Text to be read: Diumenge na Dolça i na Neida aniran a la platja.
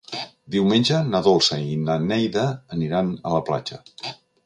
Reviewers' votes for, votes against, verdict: 3, 0, accepted